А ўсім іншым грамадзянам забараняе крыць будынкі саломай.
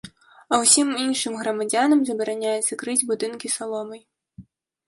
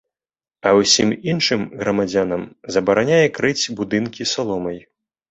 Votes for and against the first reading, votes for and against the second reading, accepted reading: 1, 3, 2, 0, second